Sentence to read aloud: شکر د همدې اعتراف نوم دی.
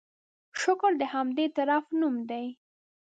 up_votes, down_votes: 3, 2